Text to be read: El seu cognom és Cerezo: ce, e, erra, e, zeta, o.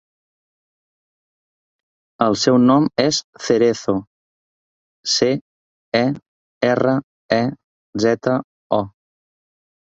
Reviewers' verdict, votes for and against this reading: rejected, 1, 3